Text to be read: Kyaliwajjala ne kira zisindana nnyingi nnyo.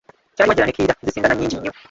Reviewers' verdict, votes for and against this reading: rejected, 0, 2